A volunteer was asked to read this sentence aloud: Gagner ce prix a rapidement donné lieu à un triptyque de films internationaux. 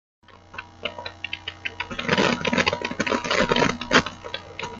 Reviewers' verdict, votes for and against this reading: rejected, 0, 2